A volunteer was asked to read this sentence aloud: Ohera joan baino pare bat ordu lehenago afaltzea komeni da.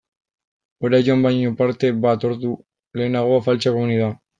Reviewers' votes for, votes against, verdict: 0, 2, rejected